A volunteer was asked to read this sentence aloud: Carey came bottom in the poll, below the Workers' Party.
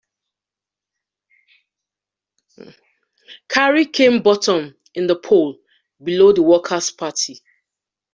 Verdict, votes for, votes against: accepted, 2, 0